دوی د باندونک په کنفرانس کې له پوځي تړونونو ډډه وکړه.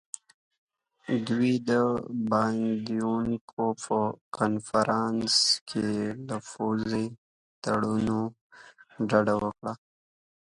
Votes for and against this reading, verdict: 0, 2, rejected